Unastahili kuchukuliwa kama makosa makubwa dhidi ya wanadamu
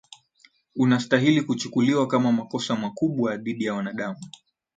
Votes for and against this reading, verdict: 2, 4, rejected